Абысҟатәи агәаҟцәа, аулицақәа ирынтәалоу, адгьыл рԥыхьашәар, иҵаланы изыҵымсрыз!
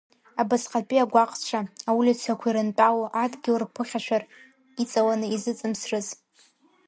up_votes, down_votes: 0, 2